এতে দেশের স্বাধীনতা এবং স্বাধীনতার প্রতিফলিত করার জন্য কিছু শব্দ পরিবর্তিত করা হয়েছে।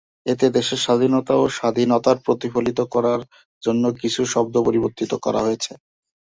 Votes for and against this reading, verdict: 2, 1, accepted